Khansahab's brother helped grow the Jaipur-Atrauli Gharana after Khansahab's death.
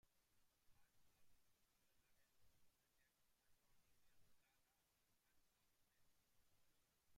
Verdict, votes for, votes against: rejected, 0, 2